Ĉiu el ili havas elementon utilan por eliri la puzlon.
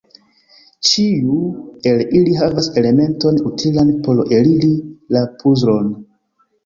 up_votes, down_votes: 0, 2